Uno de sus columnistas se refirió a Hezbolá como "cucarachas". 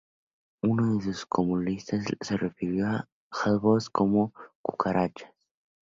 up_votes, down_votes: 0, 2